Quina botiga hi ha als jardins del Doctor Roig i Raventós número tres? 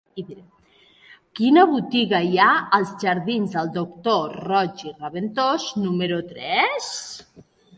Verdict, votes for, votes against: accepted, 2, 1